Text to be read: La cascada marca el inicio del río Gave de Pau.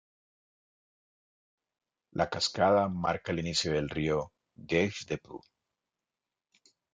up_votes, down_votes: 2, 0